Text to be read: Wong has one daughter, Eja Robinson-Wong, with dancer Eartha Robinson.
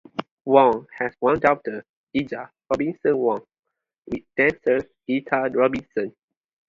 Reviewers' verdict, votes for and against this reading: rejected, 0, 2